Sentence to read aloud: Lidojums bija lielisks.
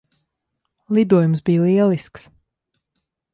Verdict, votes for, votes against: accepted, 2, 0